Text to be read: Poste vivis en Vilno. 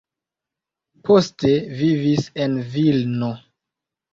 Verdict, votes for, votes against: rejected, 1, 2